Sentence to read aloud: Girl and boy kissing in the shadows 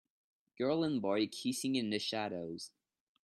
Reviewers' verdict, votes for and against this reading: accepted, 2, 0